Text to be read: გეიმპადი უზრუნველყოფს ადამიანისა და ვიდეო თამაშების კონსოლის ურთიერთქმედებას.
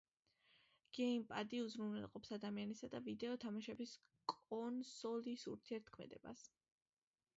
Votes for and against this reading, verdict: 1, 2, rejected